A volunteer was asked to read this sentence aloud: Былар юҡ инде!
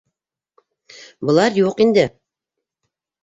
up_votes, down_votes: 2, 0